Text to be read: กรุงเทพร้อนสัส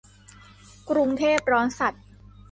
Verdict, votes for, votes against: accepted, 2, 1